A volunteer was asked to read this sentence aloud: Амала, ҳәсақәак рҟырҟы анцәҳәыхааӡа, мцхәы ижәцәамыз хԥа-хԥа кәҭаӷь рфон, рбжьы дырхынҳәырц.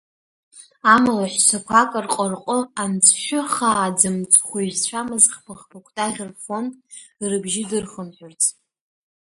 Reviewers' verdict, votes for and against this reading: rejected, 1, 2